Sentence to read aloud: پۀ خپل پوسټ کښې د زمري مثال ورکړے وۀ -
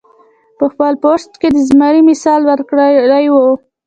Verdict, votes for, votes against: rejected, 0, 2